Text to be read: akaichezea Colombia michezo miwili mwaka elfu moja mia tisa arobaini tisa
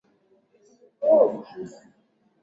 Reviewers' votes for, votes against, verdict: 0, 2, rejected